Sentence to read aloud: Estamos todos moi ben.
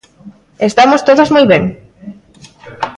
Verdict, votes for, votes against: rejected, 1, 2